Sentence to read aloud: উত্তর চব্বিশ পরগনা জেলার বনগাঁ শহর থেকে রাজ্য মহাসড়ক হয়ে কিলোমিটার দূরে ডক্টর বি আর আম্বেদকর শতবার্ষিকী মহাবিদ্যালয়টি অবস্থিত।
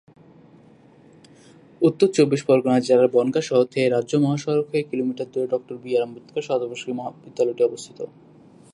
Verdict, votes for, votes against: rejected, 0, 2